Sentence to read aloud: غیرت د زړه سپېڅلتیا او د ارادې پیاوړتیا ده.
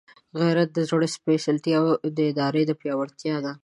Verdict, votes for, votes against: accepted, 2, 1